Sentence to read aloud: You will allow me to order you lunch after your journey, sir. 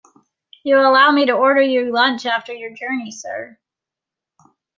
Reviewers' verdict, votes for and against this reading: accepted, 2, 0